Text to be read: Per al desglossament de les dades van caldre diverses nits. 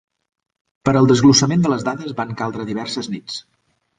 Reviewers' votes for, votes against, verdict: 3, 0, accepted